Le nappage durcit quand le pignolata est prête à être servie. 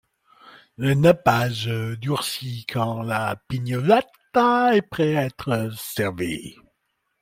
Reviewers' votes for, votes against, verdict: 2, 1, accepted